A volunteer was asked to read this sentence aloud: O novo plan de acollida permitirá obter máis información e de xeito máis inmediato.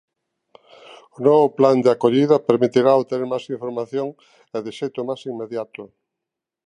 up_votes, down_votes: 2, 0